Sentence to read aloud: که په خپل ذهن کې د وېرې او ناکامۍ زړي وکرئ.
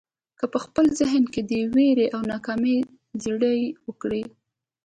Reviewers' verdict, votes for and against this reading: accepted, 2, 0